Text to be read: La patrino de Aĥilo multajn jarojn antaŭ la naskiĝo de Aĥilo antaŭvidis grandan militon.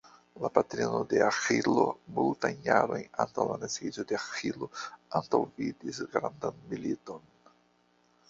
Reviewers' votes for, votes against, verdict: 0, 2, rejected